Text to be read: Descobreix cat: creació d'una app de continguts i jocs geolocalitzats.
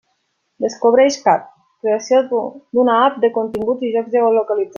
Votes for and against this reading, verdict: 1, 2, rejected